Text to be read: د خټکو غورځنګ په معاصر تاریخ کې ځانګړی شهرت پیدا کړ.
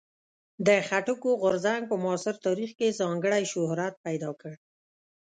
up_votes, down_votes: 2, 0